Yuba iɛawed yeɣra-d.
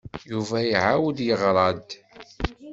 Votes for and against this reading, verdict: 2, 0, accepted